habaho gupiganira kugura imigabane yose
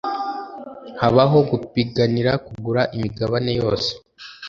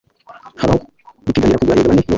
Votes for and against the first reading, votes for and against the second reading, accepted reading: 3, 0, 1, 2, first